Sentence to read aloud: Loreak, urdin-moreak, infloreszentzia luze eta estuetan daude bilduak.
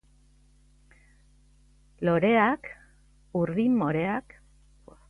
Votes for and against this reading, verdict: 0, 2, rejected